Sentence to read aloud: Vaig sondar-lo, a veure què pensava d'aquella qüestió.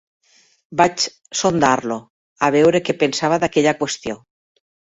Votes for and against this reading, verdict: 3, 0, accepted